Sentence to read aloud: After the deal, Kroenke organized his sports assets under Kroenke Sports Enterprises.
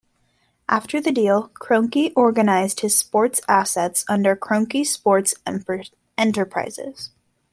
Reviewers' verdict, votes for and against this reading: rejected, 1, 2